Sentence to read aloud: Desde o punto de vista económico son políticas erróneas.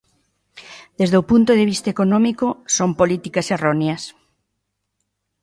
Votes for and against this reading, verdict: 2, 0, accepted